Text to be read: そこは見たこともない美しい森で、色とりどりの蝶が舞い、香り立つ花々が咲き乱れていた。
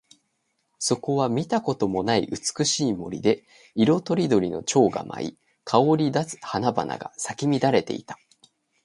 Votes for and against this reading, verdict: 2, 0, accepted